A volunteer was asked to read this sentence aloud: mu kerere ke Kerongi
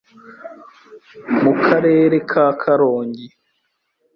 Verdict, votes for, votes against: rejected, 1, 2